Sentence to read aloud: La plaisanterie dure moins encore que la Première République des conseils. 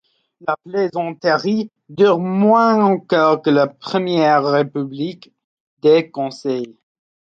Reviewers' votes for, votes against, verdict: 2, 0, accepted